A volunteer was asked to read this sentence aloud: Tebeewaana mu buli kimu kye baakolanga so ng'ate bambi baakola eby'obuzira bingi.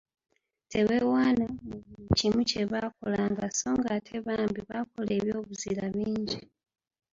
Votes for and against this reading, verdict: 1, 2, rejected